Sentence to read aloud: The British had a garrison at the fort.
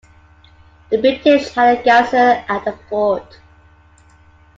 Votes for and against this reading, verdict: 2, 1, accepted